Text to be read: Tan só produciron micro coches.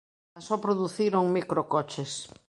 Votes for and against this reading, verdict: 0, 2, rejected